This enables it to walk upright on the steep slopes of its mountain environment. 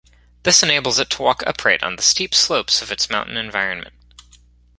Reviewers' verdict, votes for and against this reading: rejected, 1, 2